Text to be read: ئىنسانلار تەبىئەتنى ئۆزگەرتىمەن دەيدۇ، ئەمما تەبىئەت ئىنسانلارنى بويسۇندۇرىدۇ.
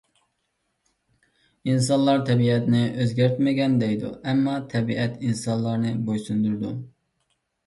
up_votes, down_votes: 0, 2